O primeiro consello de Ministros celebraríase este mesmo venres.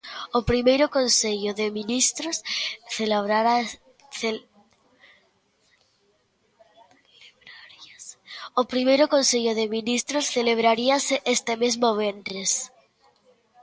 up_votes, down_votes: 0, 2